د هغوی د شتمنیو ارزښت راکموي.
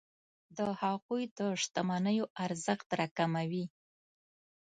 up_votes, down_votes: 2, 0